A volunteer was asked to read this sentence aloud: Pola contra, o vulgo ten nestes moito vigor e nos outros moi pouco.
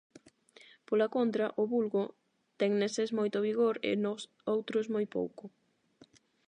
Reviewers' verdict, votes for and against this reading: rejected, 0, 8